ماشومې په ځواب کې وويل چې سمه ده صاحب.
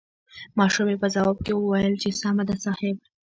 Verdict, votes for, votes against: rejected, 1, 2